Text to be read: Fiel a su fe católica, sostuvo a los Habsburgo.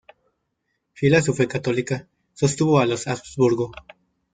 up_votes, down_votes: 1, 2